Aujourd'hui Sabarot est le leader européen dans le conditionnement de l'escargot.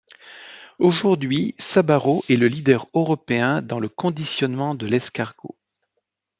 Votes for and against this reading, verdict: 2, 0, accepted